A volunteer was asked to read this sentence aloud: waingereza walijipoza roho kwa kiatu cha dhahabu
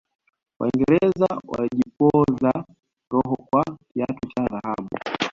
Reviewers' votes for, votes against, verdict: 2, 0, accepted